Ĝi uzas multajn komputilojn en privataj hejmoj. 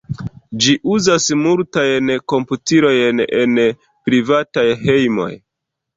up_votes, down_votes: 1, 3